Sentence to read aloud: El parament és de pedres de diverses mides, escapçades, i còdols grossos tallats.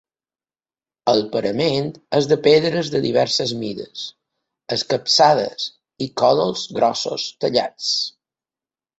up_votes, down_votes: 2, 0